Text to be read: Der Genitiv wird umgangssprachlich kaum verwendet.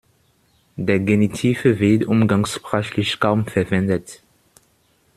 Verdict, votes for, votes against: accepted, 2, 1